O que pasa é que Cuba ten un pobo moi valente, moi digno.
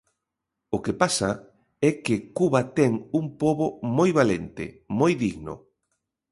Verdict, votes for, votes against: accepted, 2, 0